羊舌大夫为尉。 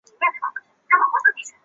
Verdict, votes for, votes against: rejected, 0, 2